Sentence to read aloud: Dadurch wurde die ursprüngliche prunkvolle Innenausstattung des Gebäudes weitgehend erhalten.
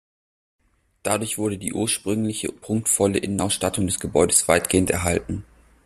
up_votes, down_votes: 2, 0